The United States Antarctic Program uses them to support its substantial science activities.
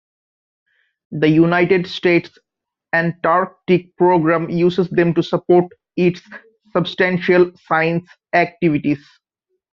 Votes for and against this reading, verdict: 2, 0, accepted